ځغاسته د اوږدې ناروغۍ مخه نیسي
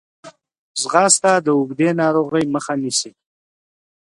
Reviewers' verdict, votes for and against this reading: accepted, 2, 0